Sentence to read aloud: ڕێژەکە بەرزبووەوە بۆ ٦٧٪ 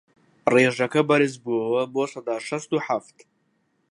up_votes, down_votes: 0, 2